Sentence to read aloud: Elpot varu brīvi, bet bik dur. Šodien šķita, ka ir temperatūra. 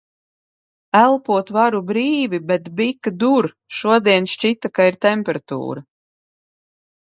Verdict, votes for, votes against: rejected, 1, 2